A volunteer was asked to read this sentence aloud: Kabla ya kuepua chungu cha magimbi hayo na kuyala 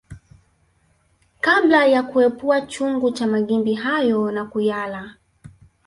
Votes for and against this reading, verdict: 1, 2, rejected